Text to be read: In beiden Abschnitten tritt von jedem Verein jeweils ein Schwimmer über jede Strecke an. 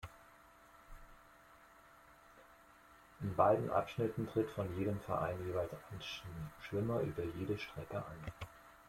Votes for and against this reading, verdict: 1, 2, rejected